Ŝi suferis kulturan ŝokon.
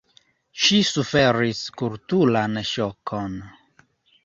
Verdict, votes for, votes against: accepted, 2, 0